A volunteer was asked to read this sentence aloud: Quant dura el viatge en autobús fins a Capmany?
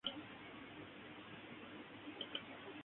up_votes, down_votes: 0, 6